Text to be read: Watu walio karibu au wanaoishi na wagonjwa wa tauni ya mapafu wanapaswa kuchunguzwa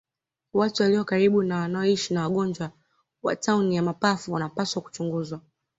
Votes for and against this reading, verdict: 2, 0, accepted